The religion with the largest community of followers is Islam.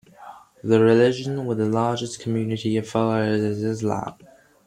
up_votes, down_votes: 1, 2